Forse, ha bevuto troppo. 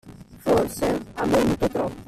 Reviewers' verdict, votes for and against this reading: rejected, 0, 2